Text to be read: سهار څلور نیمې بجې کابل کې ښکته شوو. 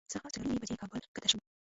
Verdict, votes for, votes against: rejected, 0, 2